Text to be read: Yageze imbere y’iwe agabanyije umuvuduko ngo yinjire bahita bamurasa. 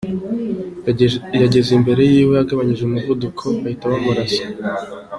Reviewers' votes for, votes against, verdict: 2, 3, rejected